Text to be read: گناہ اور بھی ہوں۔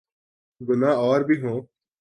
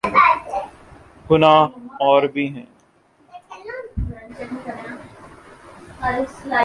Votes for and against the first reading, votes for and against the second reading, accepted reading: 3, 0, 1, 2, first